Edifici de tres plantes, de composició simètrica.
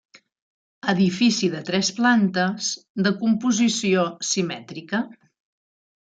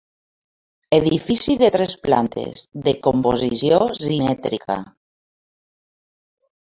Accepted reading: first